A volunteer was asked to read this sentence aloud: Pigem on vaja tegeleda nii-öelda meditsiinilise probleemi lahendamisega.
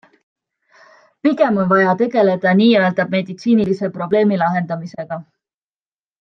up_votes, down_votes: 2, 0